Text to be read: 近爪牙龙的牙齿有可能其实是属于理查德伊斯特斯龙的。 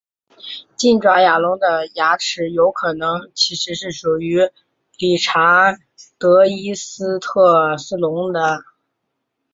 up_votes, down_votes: 2, 0